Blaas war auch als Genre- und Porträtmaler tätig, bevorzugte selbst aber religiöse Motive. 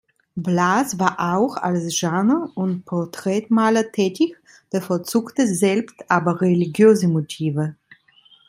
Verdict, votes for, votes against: rejected, 1, 2